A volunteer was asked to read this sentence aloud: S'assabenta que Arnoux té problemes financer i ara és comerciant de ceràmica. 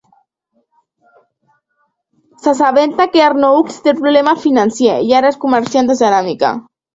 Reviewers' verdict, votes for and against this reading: rejected, 0, 2